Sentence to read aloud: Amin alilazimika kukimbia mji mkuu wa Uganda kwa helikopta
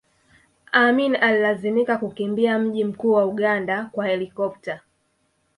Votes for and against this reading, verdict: 2, 0, accepted